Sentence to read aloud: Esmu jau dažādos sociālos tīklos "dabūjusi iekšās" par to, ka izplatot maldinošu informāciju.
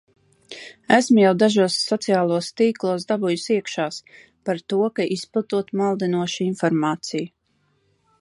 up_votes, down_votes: 1, 2